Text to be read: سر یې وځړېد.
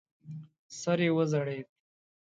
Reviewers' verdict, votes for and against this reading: accepted, 2, 0